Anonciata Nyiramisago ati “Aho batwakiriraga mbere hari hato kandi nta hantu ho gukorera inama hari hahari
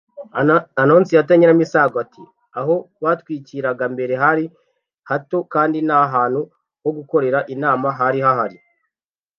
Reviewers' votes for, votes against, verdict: 1, 2, rejected